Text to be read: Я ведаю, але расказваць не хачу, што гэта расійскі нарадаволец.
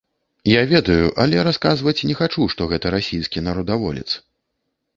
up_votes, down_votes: 2, 0